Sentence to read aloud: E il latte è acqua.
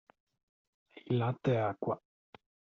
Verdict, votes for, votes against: rejected, 0, 2